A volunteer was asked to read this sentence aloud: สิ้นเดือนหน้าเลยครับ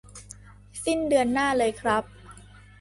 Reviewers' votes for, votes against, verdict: 2, 0, accepted